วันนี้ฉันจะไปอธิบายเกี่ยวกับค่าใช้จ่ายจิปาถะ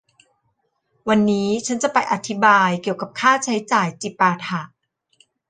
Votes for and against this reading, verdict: 1, 2, rejected